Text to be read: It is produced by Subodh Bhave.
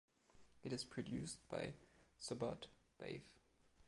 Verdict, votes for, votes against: accepted, 2, 1